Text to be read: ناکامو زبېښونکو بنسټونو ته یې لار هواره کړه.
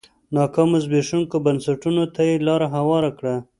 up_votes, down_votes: 2, 0